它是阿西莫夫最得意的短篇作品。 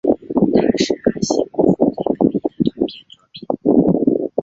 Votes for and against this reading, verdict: 3, 5, rejected